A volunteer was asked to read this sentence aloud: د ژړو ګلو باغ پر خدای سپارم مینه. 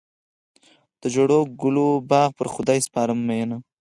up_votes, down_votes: 4, 0